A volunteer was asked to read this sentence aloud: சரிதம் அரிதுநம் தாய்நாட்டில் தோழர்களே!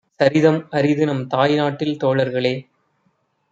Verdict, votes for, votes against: accepted, 2, 0